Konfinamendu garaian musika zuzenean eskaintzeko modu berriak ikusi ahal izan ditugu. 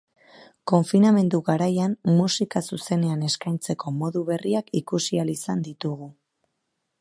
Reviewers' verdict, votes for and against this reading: accepted, 2, 0